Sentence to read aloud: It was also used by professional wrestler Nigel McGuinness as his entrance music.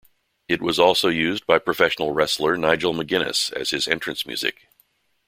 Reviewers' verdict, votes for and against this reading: accepted, 2, 0